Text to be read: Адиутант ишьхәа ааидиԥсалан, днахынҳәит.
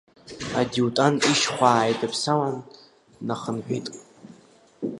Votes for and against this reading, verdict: 4, 2, accepted